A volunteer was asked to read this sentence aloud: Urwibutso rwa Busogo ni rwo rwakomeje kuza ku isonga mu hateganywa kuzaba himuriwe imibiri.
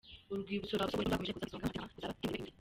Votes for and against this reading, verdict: 0, 2, rejected